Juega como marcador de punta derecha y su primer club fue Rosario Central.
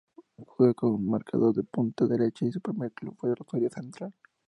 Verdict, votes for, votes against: rejected, 0, 2